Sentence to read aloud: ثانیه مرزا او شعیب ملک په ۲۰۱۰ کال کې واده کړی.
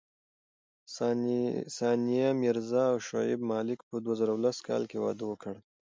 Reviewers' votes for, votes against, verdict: 0, 2, rejected